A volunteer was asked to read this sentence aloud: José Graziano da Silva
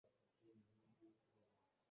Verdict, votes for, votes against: rejected, 0, 2